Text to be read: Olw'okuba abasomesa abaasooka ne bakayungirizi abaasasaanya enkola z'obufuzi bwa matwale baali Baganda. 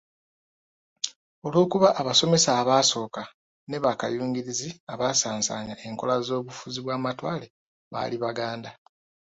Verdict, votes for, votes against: accepted, 2, 0